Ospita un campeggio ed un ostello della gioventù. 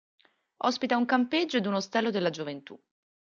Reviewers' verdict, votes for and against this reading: accepted, 2, 0